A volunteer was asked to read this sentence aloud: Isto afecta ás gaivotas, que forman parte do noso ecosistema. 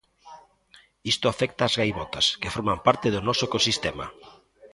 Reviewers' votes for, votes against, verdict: 1, 2, rejected